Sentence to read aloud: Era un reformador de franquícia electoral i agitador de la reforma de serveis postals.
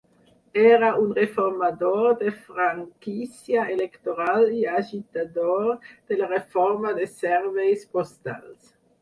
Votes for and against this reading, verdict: 6, 0, accepted